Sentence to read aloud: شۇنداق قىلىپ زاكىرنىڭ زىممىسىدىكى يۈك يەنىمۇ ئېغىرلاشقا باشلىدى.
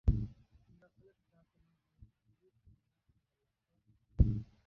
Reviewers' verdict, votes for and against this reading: rejected, 0, 2